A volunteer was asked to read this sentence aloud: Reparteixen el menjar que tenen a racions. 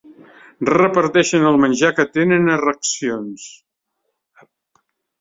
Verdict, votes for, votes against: rejected, 1, 2